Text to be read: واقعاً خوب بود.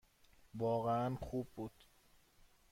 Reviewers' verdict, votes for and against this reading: accepted, 2, 0